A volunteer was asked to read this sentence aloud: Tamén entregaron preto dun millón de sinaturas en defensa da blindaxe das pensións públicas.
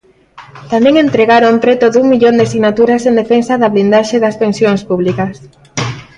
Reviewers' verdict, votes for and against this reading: accepted, 3, 0